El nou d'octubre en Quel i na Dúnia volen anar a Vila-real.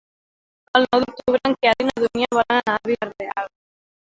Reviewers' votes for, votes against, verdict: 0, 2, rejected